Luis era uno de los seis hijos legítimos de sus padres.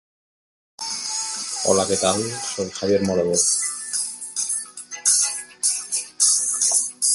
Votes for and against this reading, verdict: 0, 2, rejected